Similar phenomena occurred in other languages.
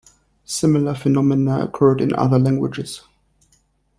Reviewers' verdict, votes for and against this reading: accepted, 2, 1